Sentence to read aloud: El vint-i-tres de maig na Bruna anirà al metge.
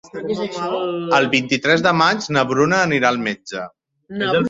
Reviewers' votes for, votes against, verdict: 0, 2, rejected